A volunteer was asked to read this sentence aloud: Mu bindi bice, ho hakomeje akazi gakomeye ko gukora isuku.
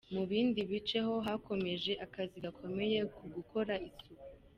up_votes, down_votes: 1, 2